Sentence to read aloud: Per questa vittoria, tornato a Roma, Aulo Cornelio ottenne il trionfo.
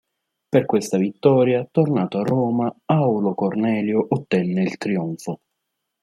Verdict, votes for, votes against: accepted, 3, 0